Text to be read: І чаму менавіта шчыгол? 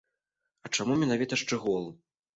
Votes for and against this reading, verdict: 3, 0, accepted